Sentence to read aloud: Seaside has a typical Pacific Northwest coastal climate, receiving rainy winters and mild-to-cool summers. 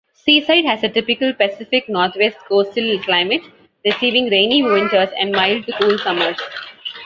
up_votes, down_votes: 2, 0